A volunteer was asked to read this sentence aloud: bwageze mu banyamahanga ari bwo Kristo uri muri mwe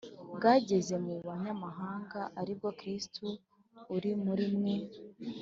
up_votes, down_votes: 6, 0